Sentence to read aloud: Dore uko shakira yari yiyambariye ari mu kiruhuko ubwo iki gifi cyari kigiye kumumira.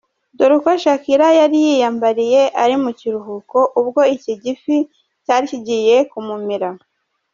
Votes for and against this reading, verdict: 2, 0, accepted